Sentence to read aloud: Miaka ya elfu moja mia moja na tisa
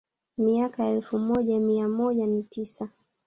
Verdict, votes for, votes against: rejected, 1, 2